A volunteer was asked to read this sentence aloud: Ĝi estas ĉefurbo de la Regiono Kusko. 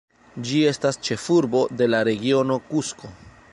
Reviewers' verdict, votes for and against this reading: accepted, 2, 0